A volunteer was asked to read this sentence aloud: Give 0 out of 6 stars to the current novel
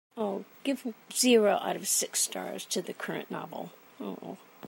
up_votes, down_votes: 0, 2